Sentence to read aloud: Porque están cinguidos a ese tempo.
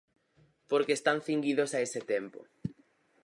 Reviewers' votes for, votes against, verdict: 4, 0, accepted